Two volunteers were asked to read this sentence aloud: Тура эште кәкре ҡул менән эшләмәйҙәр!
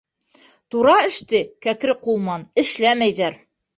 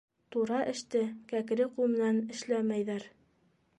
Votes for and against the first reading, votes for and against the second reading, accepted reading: 0, 2, 2, 0, second